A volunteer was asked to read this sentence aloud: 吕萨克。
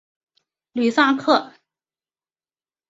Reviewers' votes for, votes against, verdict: 2, 0, accepted